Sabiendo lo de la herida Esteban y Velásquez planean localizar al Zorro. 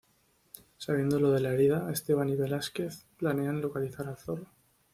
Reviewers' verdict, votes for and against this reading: accepted, 2, 0